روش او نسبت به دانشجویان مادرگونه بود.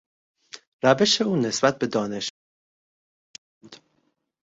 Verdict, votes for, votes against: rejected, 0, 2